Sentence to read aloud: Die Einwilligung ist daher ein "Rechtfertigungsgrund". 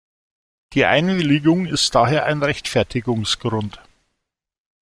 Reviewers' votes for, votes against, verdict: 2, 0, accepted